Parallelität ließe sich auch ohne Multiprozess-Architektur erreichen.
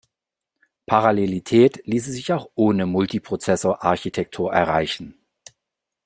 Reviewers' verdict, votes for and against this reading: rejected, 0, 2